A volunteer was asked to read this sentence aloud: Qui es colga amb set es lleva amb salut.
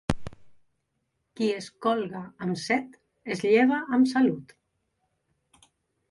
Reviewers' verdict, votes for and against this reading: accepted, 2, 0